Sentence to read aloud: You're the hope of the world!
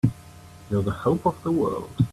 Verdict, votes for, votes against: accepted, 3, 0